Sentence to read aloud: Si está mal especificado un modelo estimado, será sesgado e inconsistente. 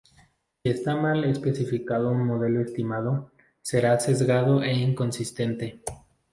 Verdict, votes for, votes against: rejected, 0, 2